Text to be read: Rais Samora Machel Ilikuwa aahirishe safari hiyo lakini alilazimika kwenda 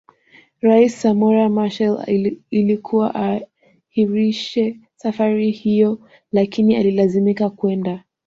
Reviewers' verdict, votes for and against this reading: rejected, 0, 2